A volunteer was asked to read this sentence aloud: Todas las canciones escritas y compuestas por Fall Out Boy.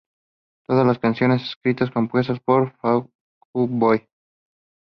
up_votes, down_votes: 2, 0